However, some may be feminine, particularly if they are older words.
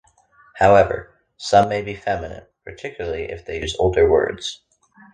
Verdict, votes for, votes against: rejected, 1, 2